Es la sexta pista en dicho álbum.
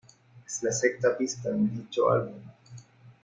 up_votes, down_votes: 2, 1